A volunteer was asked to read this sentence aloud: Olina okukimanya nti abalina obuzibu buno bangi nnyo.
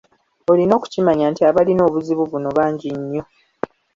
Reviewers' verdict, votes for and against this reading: accepted, 4, 0